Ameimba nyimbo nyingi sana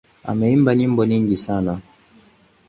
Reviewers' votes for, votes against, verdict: 2, 2, rejected